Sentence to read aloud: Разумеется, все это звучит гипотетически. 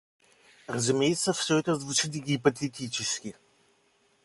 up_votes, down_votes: 2, 0